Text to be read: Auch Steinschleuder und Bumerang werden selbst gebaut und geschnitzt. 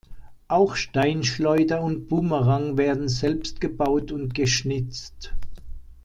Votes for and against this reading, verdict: 2, 0, accepted